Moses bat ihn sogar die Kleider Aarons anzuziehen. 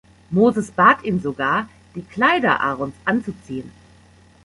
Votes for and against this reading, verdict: 1, 2, rejected